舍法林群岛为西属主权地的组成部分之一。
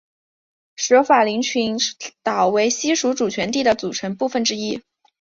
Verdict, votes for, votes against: accepted, 2, 0